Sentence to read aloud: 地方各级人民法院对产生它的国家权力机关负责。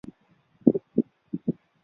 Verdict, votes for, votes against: rejected, 0, 2